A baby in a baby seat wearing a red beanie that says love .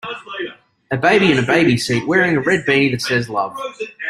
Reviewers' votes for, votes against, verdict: 2, 0, accepted